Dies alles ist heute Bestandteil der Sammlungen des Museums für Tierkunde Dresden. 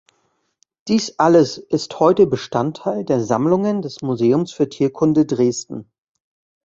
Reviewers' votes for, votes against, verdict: 2, 0, accepted